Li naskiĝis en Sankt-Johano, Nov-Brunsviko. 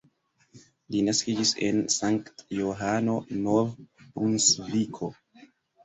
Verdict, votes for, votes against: accepted, 2, 1